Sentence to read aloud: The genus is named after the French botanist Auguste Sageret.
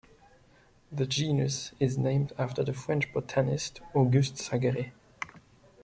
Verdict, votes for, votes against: accepted, 2, 1